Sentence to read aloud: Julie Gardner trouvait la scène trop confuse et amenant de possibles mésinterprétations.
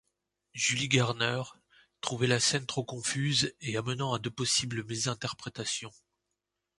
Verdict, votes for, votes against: rejected, 1, 2